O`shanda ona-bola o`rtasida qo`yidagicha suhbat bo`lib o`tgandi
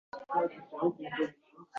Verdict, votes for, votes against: rejected, 0, 2